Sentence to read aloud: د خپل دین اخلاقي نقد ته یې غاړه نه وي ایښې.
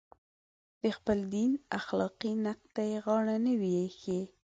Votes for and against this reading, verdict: 2, 0, accepted